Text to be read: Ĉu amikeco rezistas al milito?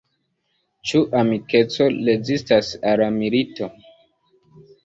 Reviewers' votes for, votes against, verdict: 2, 0, accepted